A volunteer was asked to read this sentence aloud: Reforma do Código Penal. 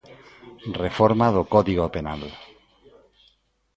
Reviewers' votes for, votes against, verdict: 2, 0, accepted